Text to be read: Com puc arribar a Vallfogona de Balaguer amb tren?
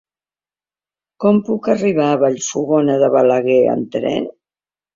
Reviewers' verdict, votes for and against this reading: accepted, 2, 0